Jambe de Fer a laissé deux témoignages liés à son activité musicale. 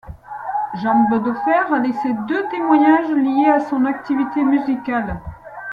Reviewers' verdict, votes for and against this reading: accepted, 2, 1